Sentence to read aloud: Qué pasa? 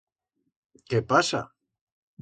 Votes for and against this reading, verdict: 2, 0, accepted